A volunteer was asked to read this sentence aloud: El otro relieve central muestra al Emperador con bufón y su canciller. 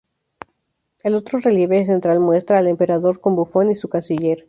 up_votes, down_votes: 2, 2